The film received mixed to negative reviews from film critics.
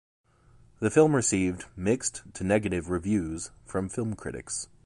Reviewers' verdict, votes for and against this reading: accepted, 2, 0